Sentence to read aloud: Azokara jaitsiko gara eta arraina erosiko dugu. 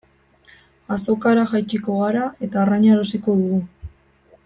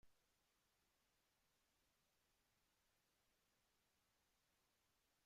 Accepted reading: first